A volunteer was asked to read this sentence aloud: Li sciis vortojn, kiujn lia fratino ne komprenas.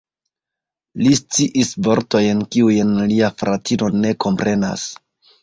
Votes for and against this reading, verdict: 2, 0, accepted